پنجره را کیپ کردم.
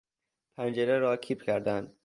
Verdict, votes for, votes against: accepted, 2, 0